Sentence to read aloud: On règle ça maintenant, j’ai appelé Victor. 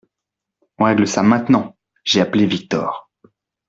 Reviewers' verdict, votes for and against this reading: accepted, 2, 1